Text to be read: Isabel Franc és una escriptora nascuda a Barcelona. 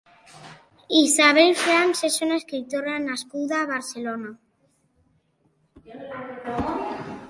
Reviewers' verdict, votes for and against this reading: accepted, 2, 0